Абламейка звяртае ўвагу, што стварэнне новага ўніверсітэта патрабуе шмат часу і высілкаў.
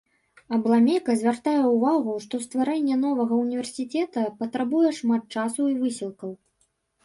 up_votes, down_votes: 1, 2